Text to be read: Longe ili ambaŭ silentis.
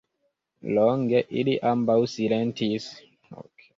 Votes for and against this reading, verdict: 2, 0, accepted